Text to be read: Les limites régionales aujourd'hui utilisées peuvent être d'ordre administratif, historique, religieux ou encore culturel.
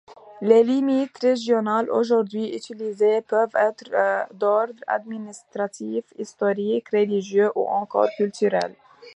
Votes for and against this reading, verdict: 2, 0, accepted